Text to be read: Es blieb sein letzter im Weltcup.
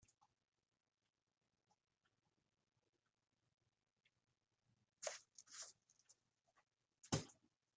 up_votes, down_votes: 0, 2